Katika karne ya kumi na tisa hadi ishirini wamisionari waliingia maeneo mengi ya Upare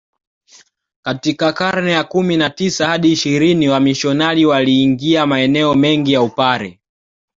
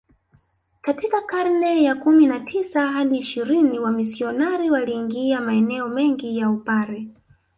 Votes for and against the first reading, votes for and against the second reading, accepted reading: 2, 0, 0, 2, first